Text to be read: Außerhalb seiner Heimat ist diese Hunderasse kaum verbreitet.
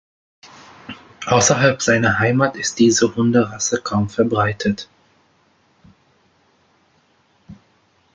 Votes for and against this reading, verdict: 3, 0, accepted